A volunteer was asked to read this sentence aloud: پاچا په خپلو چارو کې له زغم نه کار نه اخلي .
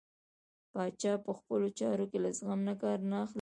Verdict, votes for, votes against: rejected, 1, 2